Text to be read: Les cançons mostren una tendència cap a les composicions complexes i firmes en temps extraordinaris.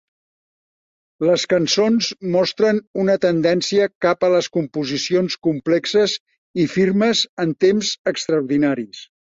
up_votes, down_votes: 4, 0